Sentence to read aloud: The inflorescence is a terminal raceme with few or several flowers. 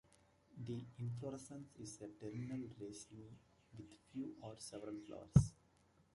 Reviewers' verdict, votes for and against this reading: accepted, 2, 1